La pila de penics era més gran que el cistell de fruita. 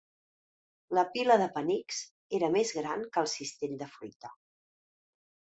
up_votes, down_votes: 2, 0